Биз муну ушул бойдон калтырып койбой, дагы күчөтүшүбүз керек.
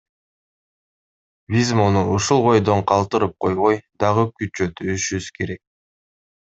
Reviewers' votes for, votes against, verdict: 1, 2, rejected